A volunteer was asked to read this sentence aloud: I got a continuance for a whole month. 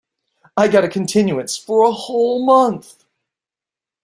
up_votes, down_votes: 2, 1